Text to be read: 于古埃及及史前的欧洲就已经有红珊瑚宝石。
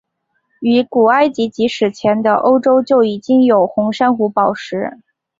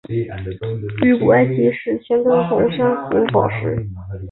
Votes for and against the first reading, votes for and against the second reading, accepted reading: 3, 0, 0, 2, first